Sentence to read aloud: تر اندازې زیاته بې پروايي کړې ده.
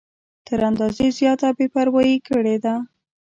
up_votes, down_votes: 0, 2